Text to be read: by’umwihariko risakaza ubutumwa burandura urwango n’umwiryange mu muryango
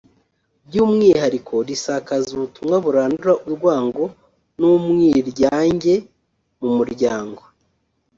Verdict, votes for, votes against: rejected, 0, 2